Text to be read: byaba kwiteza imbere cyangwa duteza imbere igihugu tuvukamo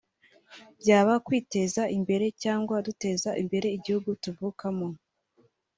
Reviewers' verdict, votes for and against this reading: accepted, 2, 0